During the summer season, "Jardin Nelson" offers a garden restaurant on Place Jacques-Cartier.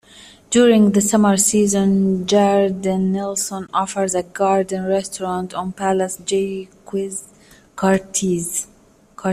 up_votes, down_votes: 0, 2